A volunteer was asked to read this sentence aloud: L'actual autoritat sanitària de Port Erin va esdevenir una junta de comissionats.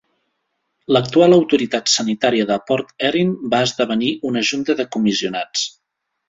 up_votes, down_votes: 2, 1